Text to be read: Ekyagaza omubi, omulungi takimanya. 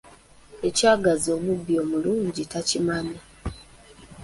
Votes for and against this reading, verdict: 1, 3, rejected